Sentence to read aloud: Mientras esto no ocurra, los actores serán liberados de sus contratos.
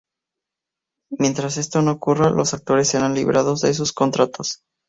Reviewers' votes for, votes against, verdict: 2, 0, accepted